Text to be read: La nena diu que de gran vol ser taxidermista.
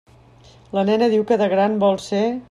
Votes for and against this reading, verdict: 0, 2, rejected